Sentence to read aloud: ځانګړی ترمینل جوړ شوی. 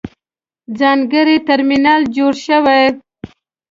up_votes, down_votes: 2, 0